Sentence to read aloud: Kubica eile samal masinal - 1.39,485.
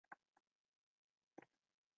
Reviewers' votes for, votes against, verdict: 0, 2, rejected